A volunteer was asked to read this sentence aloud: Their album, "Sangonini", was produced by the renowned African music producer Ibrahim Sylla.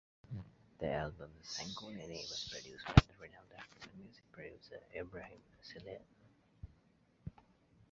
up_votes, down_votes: 0, 2